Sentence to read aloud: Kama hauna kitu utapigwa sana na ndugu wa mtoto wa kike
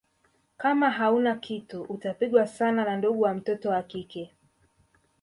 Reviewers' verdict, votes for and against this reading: accepted, 2, 1